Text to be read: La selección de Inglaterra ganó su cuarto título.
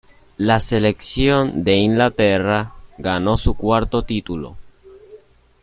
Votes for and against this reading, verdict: 1, 2, rejected